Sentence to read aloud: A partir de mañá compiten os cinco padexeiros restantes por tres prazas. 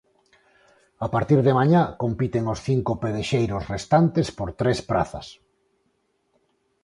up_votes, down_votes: 2, 6